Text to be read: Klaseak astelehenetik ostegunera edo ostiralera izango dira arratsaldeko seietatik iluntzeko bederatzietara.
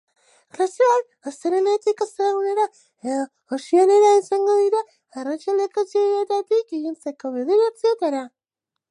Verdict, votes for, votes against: accepted, 6, 0